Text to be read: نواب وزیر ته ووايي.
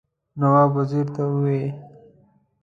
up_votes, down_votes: 0, 2